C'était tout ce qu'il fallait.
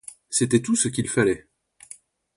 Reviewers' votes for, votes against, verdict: 2, 0, accepted